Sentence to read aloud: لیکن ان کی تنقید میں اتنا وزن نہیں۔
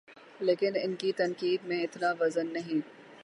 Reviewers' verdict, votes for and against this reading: rejected, 0, 3